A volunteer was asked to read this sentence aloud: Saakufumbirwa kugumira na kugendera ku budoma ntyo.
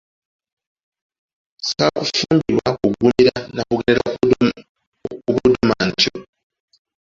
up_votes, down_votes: 0, 2